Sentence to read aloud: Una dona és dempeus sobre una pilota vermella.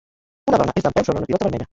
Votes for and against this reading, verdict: 0, 2, rejected